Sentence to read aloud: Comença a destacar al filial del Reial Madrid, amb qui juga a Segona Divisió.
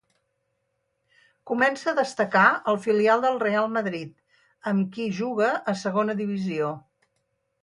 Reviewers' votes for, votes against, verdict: 2, 2, rejected